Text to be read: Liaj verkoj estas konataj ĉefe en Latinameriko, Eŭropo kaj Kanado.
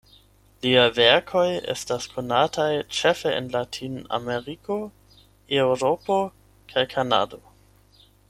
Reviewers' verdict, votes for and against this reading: rejected, 4, 8